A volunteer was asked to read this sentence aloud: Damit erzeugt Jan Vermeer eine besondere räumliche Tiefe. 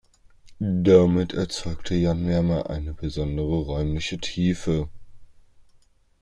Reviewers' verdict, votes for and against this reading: rejected, 1, 2